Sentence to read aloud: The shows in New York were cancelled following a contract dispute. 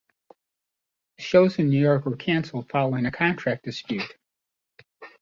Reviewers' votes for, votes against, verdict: 1, 2, rejected